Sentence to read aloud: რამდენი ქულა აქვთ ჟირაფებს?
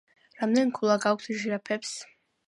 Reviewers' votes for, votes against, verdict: 0, 2, rejected